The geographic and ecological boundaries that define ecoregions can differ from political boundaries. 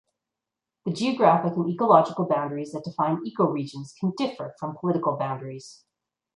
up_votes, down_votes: 1, 2